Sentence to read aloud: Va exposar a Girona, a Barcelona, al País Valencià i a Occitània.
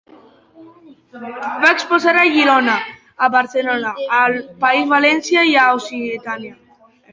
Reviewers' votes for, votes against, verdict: 0, 2, rejected